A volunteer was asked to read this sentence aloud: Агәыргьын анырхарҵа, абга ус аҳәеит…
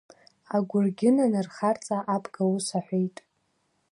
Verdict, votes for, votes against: accepted, 2, 0